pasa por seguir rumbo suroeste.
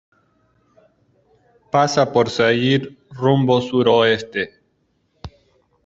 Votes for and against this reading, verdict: 2, 1, accepted